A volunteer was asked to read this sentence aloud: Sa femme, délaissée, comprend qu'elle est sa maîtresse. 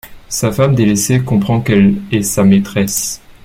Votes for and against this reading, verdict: 1, 2, rejected